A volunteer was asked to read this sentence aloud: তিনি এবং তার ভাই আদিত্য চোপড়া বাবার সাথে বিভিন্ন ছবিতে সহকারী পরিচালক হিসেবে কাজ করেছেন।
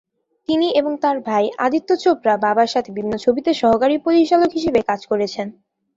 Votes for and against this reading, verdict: 2, 0, accepted